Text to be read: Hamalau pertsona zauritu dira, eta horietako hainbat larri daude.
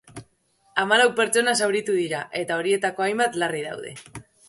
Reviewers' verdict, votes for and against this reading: accepted, 2, 0